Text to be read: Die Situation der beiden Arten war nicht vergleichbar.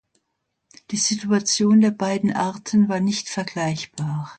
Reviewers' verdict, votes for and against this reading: accepted, 2, 0